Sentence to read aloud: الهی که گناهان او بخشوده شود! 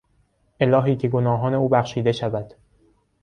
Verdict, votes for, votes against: rejected, 0, 2